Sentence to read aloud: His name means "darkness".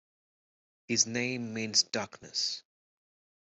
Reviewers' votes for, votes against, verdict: 1, 2, rejected